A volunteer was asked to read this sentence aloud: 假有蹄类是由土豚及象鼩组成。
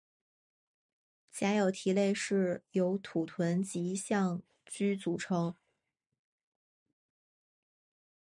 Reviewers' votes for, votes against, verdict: 0, 2, rejected